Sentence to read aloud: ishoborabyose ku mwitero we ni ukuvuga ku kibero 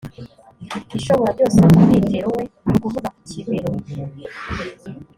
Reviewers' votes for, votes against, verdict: 1, 2, rejected